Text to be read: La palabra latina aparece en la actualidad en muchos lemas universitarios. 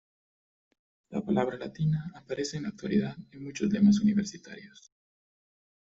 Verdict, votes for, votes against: accepted, 2, 0